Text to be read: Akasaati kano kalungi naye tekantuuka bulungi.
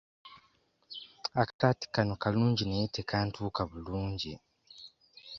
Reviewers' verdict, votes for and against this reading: accepted, 2, 0